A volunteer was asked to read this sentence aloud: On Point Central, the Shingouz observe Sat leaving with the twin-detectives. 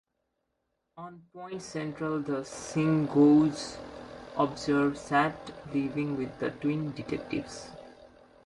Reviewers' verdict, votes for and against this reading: accepted, 2, 1